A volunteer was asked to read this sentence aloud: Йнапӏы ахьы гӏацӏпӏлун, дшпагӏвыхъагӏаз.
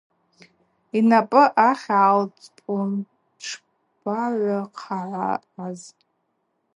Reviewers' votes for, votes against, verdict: 0, 2, rejected